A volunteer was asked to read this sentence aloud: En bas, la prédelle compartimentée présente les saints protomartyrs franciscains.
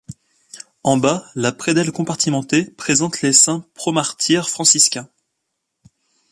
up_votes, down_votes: 1, 2